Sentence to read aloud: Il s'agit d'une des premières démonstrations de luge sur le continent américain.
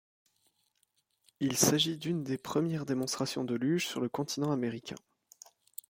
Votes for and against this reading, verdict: 2, 0, accepted